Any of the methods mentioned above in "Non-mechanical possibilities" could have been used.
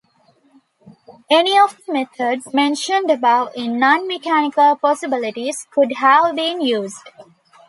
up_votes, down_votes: 2, 0